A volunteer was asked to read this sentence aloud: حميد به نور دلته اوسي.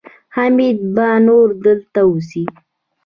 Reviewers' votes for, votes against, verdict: 2, 0, accepted